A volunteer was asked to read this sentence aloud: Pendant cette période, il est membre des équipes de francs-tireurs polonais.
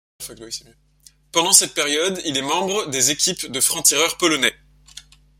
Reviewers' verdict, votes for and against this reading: rejected, 0, 2